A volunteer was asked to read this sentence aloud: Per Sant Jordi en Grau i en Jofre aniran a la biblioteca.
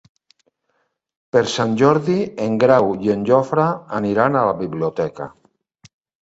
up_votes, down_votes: 3, 0